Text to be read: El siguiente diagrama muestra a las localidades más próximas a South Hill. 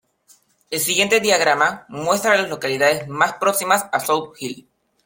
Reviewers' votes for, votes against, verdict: 2, 0, accepted